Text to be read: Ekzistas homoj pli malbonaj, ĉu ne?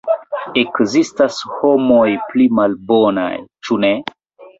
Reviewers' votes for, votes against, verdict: 1, 2, rejected